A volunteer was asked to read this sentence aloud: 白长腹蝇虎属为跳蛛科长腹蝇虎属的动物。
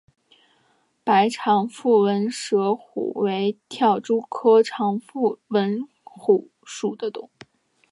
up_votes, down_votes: 0, 3